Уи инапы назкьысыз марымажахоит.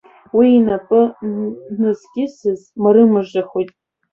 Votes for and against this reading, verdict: 2, 1, accepted